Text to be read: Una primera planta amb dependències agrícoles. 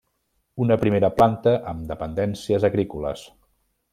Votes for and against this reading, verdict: 3, 0, accepted